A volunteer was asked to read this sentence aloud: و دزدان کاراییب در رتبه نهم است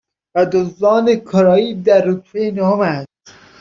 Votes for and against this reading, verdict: 0, 2, rejected